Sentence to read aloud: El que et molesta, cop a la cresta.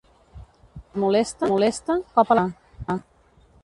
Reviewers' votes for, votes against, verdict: 0, 2, rejected